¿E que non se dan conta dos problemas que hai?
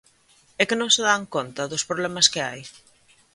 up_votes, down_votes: 2, 0